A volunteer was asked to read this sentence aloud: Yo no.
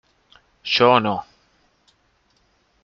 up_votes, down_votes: 1, 2